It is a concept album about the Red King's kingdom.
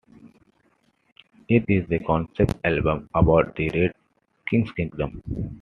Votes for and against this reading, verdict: 2, 0, accepted